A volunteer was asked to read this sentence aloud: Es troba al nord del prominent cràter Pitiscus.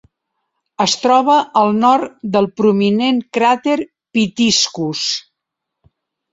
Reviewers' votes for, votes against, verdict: 3, 0, accepted